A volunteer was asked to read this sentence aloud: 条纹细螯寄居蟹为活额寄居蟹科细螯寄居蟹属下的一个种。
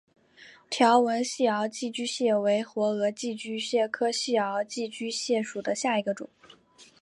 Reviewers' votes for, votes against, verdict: 2, 1, accepted